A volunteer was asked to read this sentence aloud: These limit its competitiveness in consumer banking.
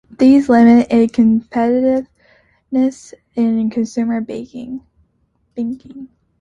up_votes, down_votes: 0, 2